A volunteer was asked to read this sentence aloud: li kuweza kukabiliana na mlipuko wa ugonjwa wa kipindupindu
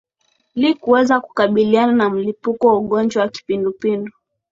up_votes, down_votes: 2, 0